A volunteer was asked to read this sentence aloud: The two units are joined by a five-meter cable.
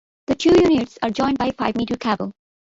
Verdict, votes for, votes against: accepted, 2, 0